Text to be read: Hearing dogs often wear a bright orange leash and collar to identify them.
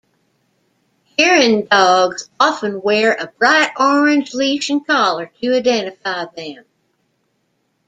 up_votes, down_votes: 2, 1